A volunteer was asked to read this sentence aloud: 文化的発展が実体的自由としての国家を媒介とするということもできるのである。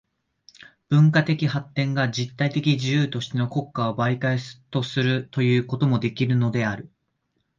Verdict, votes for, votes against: accepted, 2, 0